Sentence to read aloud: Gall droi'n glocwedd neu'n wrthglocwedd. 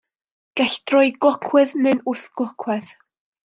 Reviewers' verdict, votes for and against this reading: rejected, 1, 2